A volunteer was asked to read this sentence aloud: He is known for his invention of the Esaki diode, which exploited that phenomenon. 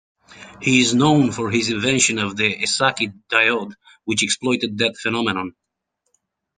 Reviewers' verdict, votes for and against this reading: accepted, 2, 0